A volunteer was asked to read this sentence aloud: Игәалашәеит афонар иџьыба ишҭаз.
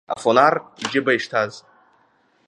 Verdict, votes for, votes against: accepted, 2, 1